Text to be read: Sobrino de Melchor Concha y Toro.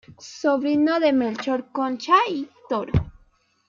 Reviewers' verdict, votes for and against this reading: accepted, 2, 0